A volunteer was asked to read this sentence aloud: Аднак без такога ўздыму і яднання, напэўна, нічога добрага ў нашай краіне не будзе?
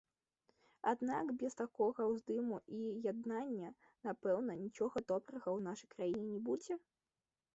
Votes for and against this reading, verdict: 0, 2, rejected